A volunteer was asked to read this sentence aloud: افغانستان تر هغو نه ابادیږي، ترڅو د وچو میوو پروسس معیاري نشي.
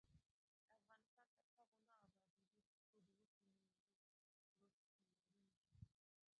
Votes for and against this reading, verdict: 0, 2, rejected